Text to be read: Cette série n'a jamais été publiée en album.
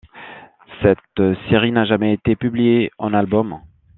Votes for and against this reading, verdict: 2, 0, accepted